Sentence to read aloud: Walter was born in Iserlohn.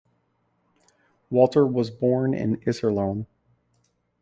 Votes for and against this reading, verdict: 2, 0, accepted